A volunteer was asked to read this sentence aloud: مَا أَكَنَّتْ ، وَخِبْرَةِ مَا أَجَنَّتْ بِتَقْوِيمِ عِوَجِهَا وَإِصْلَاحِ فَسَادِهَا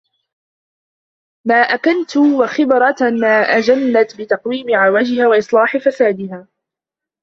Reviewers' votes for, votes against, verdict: 0, 3, rejected